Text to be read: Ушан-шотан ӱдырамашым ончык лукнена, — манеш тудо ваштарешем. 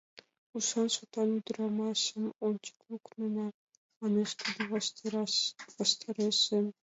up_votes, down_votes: 1, 2